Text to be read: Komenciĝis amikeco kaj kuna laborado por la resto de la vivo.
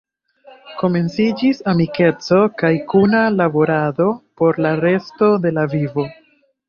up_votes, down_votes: 2, 1